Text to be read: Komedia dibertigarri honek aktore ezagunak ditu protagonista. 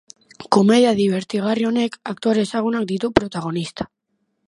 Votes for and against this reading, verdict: 3, 0, accepted